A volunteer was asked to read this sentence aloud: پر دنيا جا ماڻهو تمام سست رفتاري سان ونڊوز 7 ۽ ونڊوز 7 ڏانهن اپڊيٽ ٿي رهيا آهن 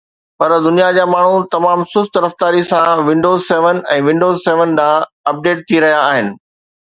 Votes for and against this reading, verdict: 0, 2, rejected